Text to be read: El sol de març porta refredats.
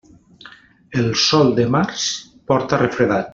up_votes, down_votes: 1, 2